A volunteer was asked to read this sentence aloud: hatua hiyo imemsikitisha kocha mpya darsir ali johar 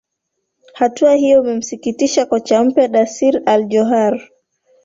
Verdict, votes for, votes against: rejected, 1, 2